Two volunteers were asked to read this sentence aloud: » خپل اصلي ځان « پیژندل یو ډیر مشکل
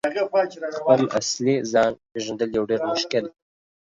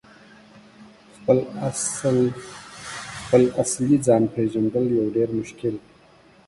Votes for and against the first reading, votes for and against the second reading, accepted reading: 2, 1, 1, 2, first